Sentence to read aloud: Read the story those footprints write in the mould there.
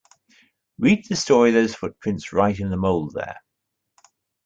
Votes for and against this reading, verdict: 2, 0, accepted